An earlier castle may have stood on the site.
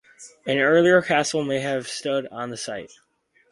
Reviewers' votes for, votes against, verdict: 4, 2, accepted